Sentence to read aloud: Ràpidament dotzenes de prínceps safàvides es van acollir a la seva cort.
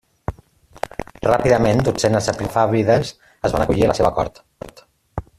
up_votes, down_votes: 0, 2